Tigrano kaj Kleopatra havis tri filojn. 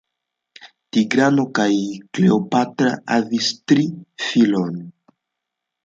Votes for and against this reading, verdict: 2, 0, accepted